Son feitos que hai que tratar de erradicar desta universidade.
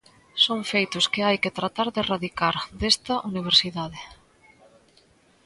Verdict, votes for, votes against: accepted, 2, 0